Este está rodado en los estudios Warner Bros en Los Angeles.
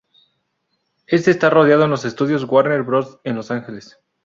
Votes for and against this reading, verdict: 0, 2, rejected